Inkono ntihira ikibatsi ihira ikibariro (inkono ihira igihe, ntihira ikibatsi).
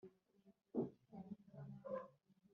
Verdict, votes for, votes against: rejected, 0, 3